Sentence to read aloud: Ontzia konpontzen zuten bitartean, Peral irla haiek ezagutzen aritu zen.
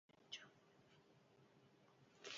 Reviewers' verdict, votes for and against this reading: rejected, 0, 2